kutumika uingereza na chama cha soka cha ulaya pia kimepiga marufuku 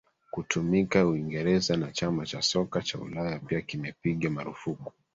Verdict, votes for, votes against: rejected, 1, 2